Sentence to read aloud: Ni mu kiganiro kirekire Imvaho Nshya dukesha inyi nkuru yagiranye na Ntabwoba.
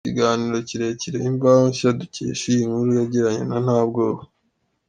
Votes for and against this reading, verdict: 2, 0, accepted